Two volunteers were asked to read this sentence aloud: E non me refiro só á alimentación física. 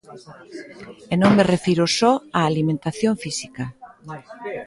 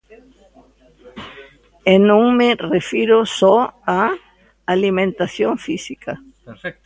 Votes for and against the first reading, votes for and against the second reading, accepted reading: 2, 0, 0, 2, first